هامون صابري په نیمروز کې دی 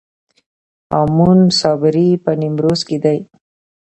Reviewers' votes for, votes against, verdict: 1, 2, rejected